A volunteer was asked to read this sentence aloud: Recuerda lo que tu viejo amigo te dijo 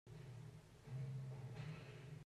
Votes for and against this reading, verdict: 0, 2, rejected